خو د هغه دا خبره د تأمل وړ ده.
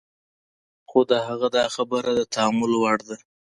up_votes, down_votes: 2, 0